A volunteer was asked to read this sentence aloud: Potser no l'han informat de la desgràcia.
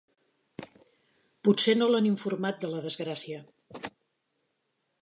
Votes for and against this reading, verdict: 3, 0, accepted